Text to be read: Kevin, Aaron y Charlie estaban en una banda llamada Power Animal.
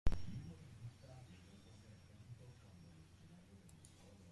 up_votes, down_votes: 0, 2